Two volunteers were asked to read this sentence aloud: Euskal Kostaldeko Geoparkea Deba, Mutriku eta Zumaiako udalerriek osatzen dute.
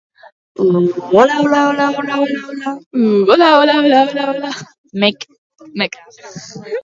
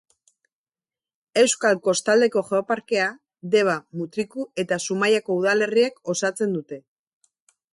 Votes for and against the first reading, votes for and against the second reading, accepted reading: 0, 4, 6, 0, second